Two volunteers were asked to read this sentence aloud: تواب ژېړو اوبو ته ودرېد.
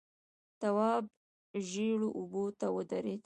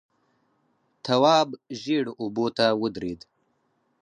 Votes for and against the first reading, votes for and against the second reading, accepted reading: 0, 2, 4, 0, second